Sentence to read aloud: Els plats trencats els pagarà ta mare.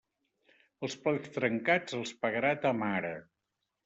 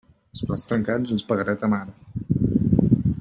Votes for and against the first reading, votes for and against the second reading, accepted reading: 3, 1, 1, 2, first